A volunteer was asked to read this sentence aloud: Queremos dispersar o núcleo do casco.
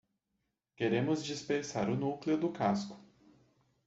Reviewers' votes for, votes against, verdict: 2, 0, accepted